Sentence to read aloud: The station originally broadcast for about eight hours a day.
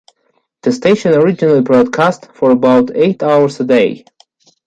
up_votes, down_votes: 0, 2